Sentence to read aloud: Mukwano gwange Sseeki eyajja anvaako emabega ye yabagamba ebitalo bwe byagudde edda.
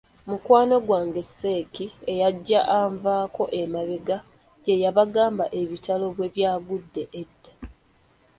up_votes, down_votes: 1, 2